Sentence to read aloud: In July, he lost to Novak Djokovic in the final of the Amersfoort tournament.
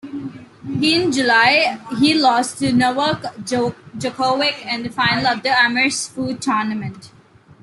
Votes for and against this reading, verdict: 1, 2, rejected